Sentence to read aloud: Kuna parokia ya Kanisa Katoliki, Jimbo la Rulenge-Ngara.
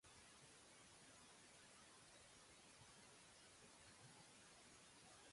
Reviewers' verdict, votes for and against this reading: rejected, 1, 2